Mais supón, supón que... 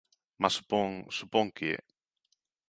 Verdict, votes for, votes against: rejected, 1, 2